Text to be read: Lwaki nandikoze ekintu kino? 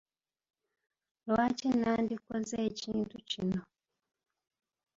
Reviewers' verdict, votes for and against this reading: accepted, 2, 0